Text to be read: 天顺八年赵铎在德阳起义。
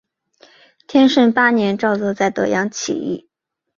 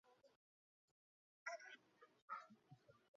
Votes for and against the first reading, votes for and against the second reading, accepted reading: 2, 1, 1, 3, first